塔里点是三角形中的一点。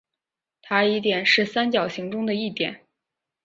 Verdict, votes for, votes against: accepted, 3, 0